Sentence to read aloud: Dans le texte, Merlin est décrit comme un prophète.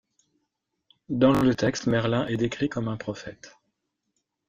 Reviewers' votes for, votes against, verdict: 1, 2, rejected